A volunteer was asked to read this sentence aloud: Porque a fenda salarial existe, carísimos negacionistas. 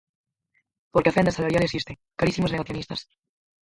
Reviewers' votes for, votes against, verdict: 0, 4, rejected